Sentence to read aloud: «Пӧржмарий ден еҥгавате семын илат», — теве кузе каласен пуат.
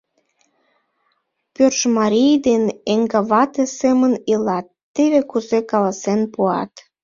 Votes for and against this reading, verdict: 1, 2, rejected